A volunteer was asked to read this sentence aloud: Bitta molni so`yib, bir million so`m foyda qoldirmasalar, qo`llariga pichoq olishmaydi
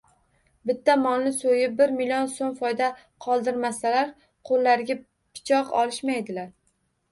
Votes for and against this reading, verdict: 1, 2, rejected